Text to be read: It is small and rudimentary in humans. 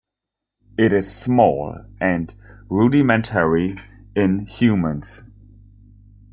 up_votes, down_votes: 2, 0